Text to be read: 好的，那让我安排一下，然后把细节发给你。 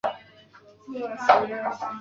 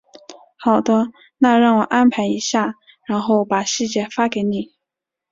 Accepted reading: second